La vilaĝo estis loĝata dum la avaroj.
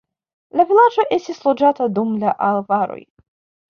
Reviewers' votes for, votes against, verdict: 1, 2, rejected